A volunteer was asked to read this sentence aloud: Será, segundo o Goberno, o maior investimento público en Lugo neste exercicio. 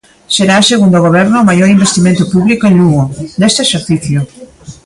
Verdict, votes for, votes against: rejected, 0, 2